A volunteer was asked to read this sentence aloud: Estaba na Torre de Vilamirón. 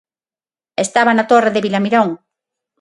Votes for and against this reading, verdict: 6, 0, accepted